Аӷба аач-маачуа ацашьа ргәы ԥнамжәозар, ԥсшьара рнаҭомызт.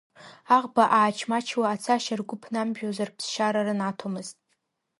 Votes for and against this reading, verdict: 2, 0, accepted